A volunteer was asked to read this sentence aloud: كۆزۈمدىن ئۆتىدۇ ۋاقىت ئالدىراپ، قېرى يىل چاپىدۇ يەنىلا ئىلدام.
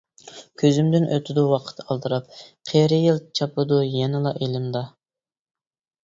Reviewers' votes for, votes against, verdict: 0, 2, rejected